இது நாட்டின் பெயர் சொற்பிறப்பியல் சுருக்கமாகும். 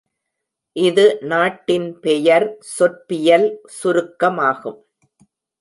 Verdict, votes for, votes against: rejected, 0, 2